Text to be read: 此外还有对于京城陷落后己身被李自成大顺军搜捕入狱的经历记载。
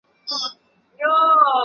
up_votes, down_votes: 1, 3